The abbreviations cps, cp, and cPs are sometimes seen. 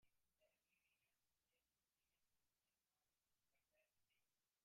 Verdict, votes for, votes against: rejected, 1, 2